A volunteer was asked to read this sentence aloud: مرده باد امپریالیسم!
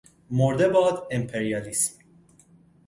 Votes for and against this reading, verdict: 0, 2, rejected